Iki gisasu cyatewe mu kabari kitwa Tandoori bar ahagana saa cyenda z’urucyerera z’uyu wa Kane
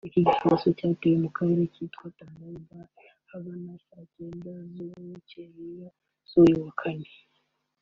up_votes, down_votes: 0, 2